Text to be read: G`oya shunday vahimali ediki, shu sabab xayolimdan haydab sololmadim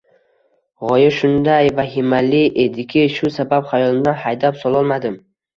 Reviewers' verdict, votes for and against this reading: accepted, 2, 0